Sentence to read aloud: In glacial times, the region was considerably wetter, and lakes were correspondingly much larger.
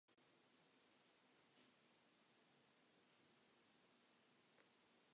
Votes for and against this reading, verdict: 0, 2, rejected